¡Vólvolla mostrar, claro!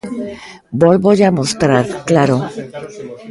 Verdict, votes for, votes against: rejected, 1, 2